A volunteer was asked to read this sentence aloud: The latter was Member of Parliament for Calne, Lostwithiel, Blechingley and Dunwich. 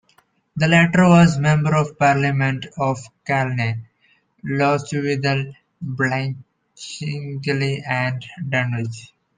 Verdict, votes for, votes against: rejected, 0, 2